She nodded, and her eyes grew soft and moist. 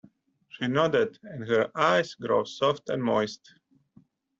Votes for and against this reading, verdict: 0, 2, rejected